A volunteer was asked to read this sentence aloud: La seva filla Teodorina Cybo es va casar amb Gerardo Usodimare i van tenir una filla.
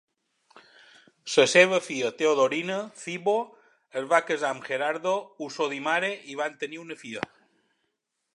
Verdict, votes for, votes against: rejected, 0, 2